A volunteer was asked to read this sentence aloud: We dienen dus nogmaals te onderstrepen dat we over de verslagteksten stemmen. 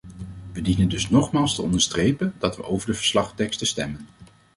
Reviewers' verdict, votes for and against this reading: accepted, 2, 0